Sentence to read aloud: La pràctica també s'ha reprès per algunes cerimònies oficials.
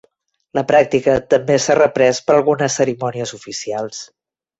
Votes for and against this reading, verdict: 3, 1, accepted